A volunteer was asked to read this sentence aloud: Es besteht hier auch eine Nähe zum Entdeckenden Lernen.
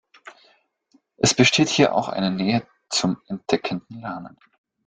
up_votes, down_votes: 2, 1